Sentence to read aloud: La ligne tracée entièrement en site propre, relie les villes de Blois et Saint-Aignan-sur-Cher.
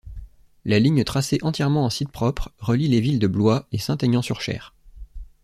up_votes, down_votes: 2, 0